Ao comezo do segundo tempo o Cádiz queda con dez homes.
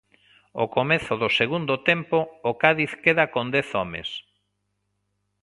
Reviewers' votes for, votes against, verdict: 2, 0, accepted